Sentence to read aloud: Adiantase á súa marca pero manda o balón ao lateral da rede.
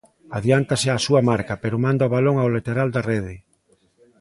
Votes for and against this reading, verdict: 2, 0, accepted